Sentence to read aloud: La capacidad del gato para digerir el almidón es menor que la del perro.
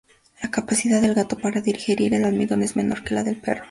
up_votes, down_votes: 2, 0